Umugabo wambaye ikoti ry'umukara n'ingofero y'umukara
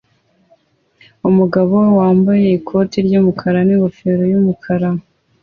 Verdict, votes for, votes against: accepted, 2, 0